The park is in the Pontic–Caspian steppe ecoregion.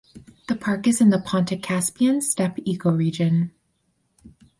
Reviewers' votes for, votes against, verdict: 2, 0, accepted